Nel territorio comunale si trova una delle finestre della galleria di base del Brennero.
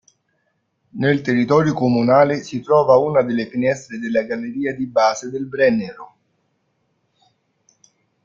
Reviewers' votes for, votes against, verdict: 2, 1, accepted